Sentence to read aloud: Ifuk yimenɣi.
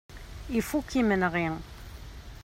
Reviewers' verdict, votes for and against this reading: accepted, 3, 0